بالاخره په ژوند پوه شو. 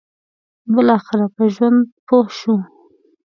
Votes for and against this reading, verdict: 2, 0, accepted